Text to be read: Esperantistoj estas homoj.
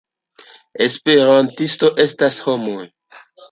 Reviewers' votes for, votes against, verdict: 1, 2, rejected